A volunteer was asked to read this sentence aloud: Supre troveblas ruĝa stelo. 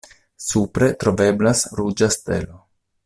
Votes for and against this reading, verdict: 2, 0, accepted